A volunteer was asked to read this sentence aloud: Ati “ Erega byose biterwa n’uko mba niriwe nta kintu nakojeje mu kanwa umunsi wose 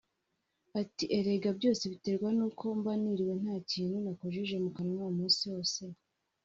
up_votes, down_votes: 2, 0